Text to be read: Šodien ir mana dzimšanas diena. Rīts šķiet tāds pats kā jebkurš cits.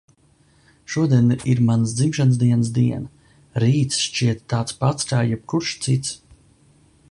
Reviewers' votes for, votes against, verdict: 0, 2, rejected